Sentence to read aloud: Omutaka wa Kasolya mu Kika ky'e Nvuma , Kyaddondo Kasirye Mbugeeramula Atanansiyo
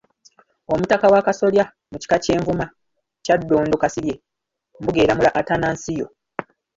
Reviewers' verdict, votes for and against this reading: rejected, 0, 2